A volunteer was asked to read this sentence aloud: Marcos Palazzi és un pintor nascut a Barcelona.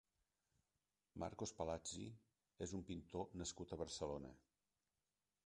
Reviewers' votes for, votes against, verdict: 0, 2, rejected